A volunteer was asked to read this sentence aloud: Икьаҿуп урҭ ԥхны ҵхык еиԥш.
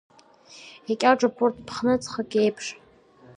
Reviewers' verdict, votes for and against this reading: accepted, 2, 0